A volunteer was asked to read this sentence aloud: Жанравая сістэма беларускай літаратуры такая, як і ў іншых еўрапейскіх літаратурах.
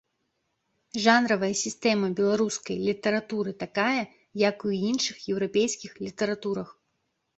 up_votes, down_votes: 1, 2